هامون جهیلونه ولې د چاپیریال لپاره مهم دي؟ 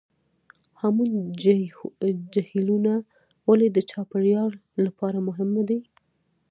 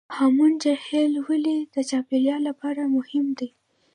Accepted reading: second